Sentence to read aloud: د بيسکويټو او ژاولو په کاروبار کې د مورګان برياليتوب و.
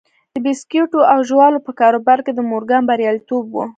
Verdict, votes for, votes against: rejected, 1, 2